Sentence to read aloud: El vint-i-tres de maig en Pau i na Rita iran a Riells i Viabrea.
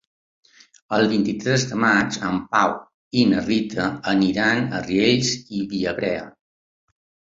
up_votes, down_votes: 2, 0